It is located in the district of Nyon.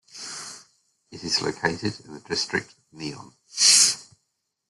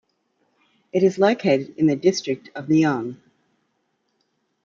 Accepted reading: second